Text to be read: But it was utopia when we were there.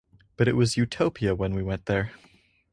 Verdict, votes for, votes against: rejected, 0, 4